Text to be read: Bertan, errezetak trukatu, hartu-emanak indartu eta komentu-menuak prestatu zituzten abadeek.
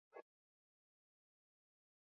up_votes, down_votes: 0, 4